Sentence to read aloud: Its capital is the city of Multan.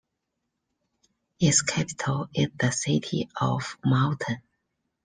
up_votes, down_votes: 2, 0